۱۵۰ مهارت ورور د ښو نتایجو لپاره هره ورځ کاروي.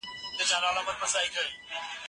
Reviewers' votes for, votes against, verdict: 0, 2, rejected